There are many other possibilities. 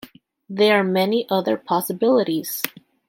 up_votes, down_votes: 2, 0